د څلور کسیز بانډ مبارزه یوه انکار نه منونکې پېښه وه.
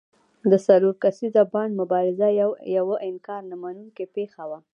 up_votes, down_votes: 1, 2